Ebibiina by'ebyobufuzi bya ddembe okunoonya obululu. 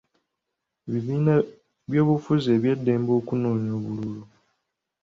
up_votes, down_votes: 0, 2